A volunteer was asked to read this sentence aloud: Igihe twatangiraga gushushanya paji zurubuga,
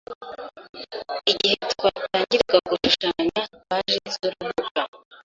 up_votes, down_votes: 1, 2